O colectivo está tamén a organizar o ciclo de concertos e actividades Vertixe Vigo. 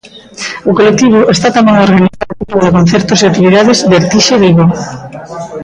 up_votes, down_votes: 0, 2